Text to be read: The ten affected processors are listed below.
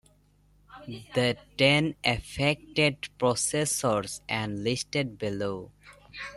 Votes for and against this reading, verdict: 2, 0, accepted